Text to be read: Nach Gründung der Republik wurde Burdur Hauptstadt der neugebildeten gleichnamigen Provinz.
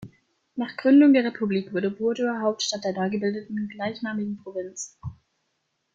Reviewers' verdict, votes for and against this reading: accepted, 2, 1